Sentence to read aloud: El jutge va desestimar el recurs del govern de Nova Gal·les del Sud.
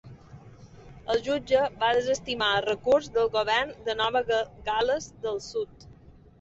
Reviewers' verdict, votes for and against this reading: rejected, 0, 2